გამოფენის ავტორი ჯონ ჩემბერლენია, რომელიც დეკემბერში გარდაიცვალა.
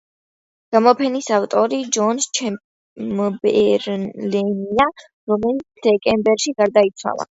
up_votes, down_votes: 2, 0